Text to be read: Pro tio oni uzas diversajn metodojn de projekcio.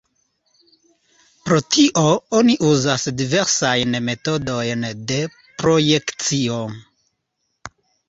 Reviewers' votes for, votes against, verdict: 2, 0, accepted